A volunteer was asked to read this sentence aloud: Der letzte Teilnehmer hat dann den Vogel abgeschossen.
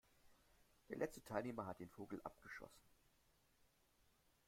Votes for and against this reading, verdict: 1, 2, rejected